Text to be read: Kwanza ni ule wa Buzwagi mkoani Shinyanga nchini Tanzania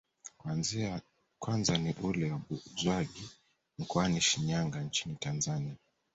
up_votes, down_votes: 0, 2